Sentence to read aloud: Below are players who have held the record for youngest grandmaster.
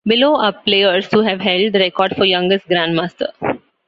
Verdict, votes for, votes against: rejected, 1, 2